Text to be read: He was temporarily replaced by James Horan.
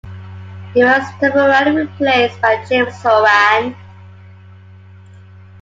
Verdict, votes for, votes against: accepted, 2, 1